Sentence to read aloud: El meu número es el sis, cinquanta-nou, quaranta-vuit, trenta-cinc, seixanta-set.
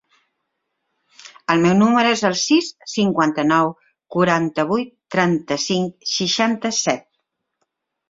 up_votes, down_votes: 3, 0